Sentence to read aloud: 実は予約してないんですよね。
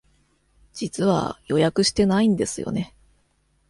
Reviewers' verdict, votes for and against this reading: accepted, 2, 0